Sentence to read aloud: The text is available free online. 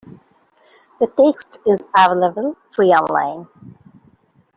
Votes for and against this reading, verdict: 0, 2, rejected